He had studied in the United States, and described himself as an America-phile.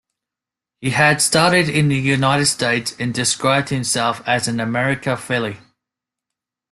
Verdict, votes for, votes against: rejected, 0, 2